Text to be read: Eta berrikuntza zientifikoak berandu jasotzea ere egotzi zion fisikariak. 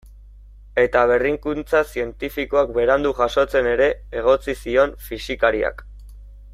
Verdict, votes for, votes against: rejected, 0, 2